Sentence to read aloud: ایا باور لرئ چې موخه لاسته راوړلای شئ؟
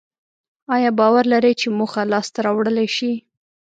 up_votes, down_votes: 2, 0